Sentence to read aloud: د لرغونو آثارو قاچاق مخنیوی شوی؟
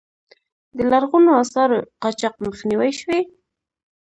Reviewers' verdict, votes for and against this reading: accepted, 2, 0